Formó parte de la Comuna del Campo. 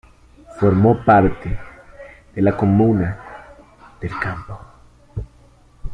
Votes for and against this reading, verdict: 2, 1, accepted